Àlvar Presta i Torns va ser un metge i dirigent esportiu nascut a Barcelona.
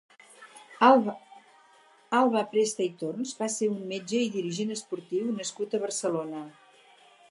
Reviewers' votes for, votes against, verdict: 2, 4, rejected